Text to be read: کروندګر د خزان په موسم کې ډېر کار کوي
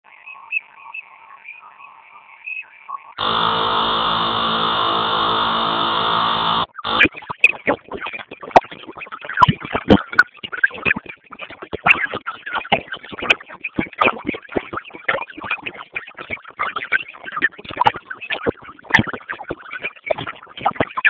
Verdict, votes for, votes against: rejected, 0, 2